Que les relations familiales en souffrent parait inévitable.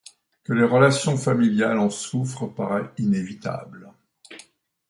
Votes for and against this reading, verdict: 2, 0, accepted